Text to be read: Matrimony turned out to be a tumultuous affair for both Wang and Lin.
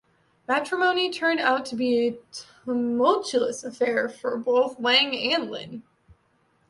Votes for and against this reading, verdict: 2, 0, accepted